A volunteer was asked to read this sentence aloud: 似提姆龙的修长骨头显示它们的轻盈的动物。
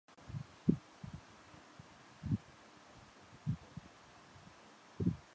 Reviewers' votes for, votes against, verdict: 0, 2, rejected